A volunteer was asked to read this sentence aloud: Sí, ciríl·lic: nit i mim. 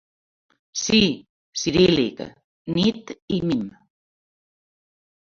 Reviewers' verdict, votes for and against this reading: accepted, 2, 1